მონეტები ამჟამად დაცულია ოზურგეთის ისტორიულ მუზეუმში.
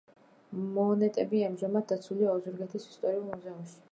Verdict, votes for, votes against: rejected, 1, 2